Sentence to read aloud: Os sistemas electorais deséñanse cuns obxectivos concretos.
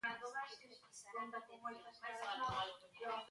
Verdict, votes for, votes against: rejected, 0, 2